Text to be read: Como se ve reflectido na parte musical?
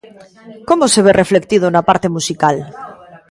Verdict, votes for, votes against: accepted, 2, 1